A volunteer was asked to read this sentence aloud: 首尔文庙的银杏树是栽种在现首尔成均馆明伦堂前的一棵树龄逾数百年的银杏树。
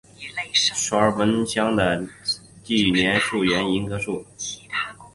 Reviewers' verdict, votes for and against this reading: rejected, 1, 4